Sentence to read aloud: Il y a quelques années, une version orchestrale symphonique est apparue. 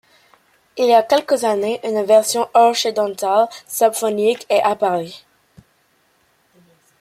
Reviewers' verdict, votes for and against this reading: rejected, 1, 2